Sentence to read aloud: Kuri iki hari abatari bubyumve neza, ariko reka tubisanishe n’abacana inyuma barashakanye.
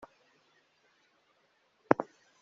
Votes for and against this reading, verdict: 0, 2, rejected